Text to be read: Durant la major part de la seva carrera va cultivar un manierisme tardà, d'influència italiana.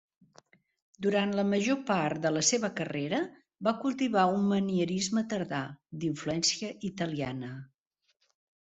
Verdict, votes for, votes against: accepted, 3, 0